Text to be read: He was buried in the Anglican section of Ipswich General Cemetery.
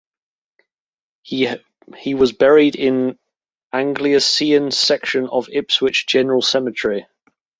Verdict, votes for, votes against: rejected, 0, 2